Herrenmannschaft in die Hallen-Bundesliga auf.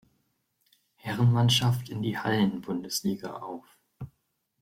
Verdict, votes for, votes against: accepted, 2, 0